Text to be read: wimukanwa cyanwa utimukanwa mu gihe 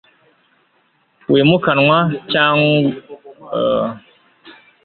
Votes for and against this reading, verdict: 2, 3, rejected